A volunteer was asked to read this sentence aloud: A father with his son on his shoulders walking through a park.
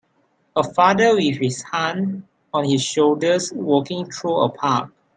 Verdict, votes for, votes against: accepted, 5, 4